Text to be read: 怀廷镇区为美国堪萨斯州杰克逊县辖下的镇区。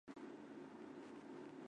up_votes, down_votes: 0, 3